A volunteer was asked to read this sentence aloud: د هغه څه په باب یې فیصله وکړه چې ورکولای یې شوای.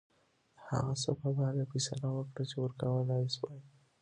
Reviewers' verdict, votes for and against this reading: rejected, 0, 2